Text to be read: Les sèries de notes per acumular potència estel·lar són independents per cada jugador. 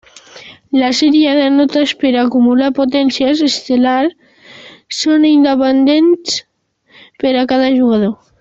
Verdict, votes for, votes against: rejected, 1, 2